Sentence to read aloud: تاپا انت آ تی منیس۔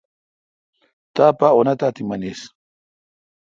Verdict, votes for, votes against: accepted, 2, 0